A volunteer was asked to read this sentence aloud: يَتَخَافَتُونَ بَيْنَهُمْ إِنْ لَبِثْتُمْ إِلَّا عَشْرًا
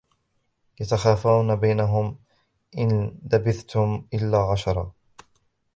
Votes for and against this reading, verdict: 0, 2, rejected